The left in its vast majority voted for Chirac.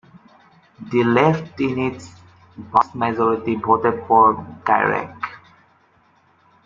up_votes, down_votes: 0, 2